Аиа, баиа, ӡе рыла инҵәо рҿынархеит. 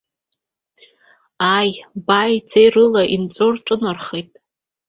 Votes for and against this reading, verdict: 1, 2, rejected